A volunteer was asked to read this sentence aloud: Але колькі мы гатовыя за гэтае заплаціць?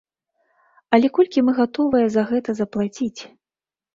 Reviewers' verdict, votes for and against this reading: rejected, 1, 2